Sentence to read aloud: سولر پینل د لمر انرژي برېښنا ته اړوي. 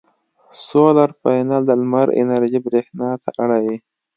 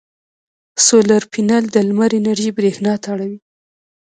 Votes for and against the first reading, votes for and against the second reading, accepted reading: 2, 0, 1, 2, first